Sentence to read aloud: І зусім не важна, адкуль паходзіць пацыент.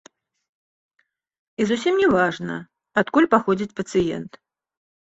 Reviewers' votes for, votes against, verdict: 2, 0, accepted